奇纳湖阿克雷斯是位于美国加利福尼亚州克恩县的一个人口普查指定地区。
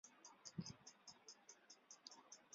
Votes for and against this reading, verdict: 0, 2, rejected